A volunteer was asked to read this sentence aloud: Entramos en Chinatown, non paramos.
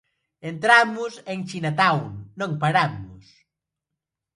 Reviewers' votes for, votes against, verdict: 2, 0, accepted